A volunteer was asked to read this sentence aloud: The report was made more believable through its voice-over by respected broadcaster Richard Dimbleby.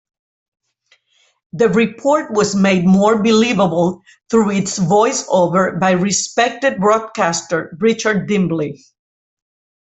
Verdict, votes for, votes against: rejected, 0, 2